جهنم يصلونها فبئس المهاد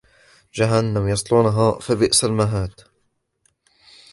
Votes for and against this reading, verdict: 0, 2, rejected